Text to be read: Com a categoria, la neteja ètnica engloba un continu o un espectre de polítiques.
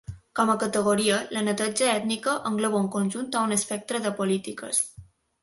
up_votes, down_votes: 0, 2